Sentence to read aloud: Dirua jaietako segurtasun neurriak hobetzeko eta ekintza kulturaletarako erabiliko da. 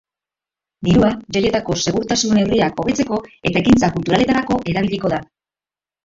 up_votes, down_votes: 0, 2